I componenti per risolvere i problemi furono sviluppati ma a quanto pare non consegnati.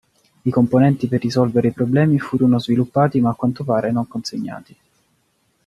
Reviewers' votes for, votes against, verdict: 3, 0, accepted